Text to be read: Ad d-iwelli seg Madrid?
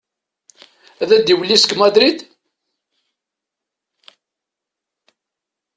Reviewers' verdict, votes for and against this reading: accepted, 2, 1